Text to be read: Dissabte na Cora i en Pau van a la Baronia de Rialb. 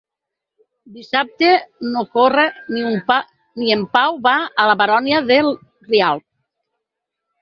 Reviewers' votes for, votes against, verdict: 0, 4, rejected